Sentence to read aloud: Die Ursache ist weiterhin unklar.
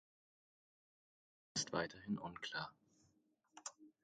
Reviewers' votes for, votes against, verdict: 0, 4, rejected